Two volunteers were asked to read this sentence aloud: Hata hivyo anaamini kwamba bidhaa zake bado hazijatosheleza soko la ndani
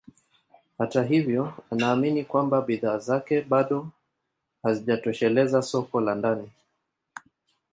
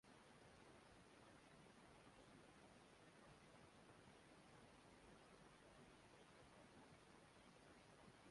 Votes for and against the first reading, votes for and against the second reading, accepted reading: 2, 0, 1, 2, first